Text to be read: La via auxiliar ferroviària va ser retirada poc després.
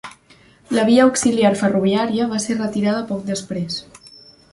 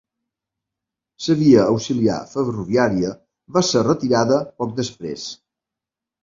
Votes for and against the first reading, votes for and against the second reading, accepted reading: 3, 0, 0, 2, first